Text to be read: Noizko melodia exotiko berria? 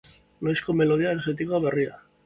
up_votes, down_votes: 3, 0